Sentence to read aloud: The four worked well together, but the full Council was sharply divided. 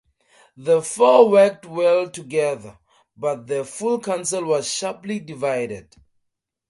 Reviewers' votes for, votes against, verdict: 2, 0, accepted